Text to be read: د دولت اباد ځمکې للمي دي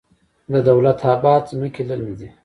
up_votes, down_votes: 0, 2